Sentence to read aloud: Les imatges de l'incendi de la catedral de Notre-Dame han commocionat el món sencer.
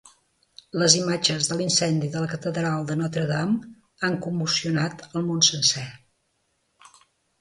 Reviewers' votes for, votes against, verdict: 2, 0, accepted